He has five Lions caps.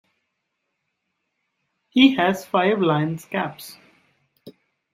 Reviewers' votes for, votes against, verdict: 2, 1, accepted